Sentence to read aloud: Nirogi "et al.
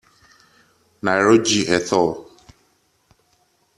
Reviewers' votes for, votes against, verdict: 0, 2, rejected